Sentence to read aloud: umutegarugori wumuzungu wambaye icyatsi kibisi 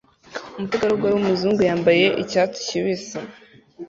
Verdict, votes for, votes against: accepted, 2, 1